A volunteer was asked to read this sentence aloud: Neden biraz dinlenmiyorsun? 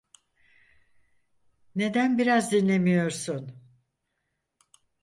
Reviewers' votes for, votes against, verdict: 0, 4, rejected